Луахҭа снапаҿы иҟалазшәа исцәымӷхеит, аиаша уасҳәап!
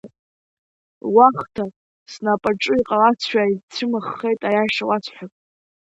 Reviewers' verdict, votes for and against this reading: accepted, 2, 0